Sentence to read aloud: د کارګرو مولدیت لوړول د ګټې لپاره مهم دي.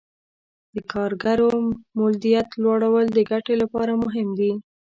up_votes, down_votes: 1, 2